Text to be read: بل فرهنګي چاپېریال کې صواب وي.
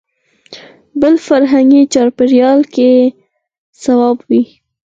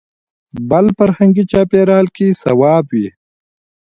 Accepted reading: first